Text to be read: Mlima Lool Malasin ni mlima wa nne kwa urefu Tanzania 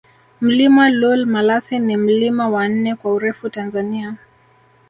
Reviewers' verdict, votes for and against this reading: accepted, 7, 0